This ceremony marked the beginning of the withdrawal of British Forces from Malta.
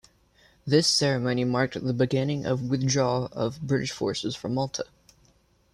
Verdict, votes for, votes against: accepted, 2, 1